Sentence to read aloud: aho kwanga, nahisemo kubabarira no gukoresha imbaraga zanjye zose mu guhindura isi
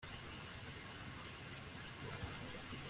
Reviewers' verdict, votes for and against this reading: rejected, 1, 2